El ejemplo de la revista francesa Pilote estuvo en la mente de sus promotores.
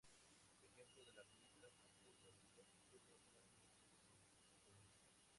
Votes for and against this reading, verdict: 0, 2, rejected